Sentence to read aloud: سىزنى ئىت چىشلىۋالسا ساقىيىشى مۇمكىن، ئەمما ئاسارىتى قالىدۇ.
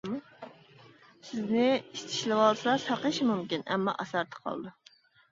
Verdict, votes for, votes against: rejected, 0, 2